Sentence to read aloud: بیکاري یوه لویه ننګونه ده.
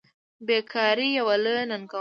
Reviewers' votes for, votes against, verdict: 2, 1, accepted